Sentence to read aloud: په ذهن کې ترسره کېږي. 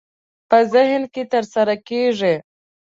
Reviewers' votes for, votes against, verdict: 2, 0, accepted